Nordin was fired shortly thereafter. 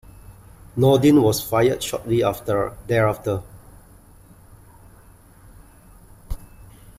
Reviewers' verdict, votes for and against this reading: rejected, 1, 2